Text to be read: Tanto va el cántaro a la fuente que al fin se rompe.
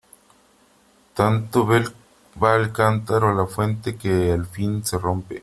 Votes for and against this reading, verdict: 0, 3, rejected